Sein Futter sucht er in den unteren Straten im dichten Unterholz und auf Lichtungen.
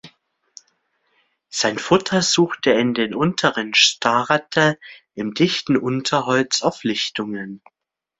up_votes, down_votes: 0, 2